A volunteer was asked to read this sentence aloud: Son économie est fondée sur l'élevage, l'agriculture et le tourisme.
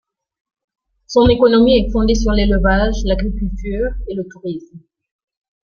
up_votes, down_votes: 0, 2